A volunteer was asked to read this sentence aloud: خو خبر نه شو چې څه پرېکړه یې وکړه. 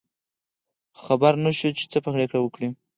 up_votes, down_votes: 2, 4